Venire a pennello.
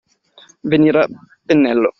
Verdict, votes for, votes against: rejected, 0, 2